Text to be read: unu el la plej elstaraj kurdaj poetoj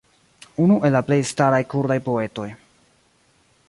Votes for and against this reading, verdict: 0, 2, rejected